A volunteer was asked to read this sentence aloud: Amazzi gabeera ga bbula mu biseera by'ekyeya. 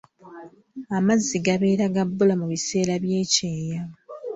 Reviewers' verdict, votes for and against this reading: accepted, 2, 0